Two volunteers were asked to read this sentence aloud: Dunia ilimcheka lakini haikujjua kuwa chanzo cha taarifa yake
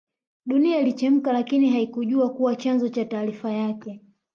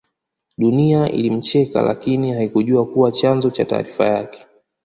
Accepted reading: second